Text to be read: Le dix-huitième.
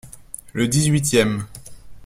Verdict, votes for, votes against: accepted, 2, 0